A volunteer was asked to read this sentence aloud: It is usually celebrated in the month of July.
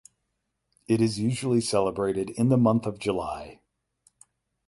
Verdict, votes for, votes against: accepted, 8, 0